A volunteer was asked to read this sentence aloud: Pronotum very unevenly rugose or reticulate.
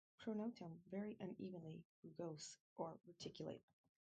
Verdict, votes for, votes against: rejected, 0, 2